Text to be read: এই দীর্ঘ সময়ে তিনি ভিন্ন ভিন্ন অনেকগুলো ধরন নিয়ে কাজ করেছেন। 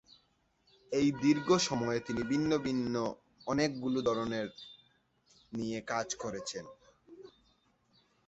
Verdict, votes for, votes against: rejected, 3, 8